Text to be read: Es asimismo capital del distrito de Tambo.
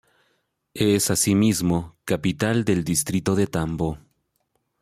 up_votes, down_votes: 3, 0